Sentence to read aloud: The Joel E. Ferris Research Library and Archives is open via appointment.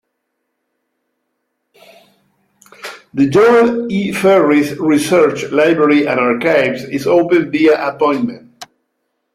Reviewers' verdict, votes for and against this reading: accepted, 2, 0